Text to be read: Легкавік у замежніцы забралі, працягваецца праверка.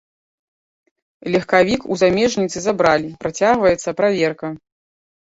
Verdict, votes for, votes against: accepted, 2, 0